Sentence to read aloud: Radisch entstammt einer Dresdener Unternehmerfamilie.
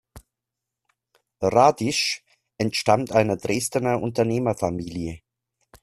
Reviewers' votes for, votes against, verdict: 2, 0, accepted